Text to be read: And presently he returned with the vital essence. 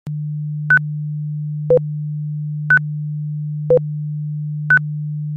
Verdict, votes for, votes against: rejected, 0, 2